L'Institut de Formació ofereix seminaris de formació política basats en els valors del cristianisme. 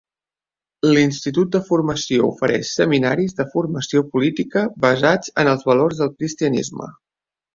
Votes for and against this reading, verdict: 3, 0, accepted